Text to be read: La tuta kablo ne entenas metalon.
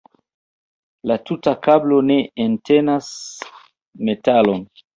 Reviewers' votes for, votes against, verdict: 1, 2, rejected